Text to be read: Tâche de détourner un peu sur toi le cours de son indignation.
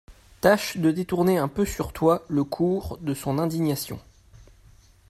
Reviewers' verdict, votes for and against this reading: accepted, 2, 0